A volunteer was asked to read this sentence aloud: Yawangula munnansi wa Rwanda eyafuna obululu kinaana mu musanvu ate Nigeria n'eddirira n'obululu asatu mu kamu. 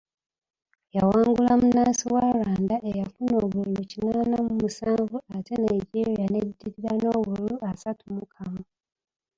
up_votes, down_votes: 1, 2